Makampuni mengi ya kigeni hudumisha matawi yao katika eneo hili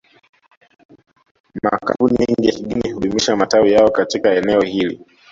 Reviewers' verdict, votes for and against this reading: rejected, 1, 2